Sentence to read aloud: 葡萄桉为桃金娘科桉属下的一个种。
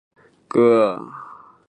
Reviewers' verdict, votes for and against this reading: rejected, 1, 3